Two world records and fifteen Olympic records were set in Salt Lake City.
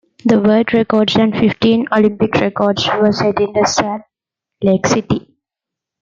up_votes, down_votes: 0, 2